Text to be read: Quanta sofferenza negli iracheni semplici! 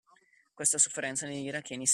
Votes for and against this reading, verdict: 0, 2, rejected